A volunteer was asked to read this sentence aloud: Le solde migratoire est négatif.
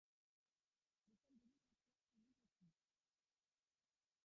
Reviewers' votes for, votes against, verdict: 0, 2, rejected